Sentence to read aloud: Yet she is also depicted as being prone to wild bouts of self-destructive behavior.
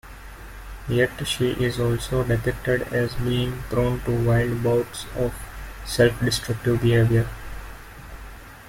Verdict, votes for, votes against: accepted, 2, 0